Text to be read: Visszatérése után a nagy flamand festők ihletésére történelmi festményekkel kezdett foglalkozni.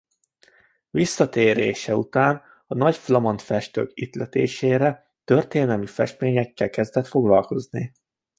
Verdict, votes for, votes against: accepted, 2, 0